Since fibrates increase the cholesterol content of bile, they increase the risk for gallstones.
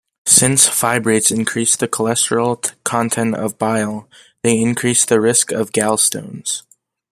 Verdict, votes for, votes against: rejected, 0, 2